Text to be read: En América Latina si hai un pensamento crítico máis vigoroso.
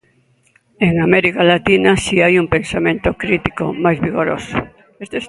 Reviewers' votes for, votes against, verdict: 0, 2, rejected